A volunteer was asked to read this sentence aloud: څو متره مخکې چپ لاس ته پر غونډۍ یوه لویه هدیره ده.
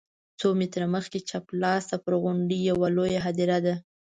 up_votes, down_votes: 2, 0